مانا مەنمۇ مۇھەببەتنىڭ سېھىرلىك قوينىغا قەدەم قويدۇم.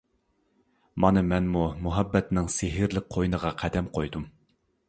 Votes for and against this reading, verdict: 2, 0, accepted